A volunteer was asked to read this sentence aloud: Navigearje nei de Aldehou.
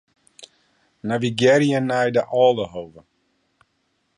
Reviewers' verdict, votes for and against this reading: rejected, 0, 2